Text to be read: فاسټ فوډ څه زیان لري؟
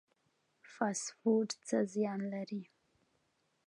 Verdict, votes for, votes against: accepted, 2, 0